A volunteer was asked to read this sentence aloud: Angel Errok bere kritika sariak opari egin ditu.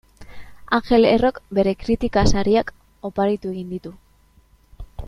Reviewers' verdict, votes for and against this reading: rejected, 1, 2